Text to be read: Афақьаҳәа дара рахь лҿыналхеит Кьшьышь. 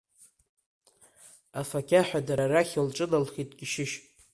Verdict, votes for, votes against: rejected, 1, 2